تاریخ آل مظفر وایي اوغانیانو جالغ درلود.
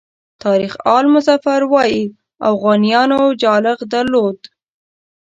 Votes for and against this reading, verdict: 2, 0, accepted